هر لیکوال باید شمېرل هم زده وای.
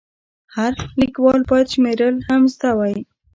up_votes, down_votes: 1, 2